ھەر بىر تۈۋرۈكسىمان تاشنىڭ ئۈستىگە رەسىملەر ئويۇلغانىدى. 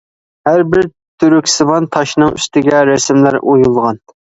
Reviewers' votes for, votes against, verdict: 0, 2, rejected